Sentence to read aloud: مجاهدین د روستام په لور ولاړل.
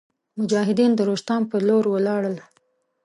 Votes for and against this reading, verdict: 2, 0, accepted